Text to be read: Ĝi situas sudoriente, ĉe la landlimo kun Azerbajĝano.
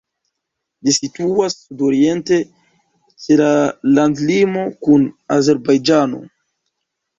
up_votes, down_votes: 0, 2